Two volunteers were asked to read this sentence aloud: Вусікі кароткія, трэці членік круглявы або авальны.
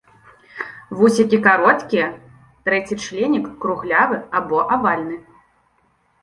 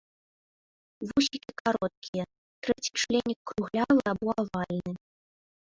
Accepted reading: first